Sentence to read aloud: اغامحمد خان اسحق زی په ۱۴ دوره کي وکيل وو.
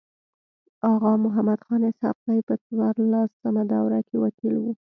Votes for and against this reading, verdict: 0, 2, rejected